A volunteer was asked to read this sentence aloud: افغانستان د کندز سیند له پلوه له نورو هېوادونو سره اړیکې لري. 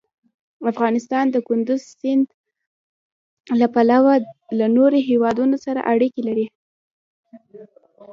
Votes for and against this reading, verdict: 2, 0, accepted